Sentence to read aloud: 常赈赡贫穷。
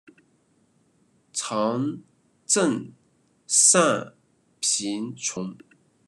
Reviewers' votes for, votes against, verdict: 2, 0, accepted